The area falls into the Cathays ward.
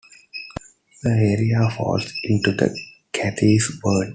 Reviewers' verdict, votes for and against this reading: accepted, 2, 0